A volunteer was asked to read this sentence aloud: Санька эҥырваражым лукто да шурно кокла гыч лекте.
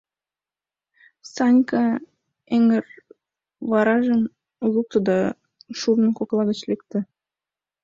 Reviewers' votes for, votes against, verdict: 1, 2, rejected